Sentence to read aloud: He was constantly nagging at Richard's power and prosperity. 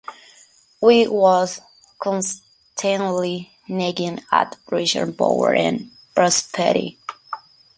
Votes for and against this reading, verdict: 1, 2, rejected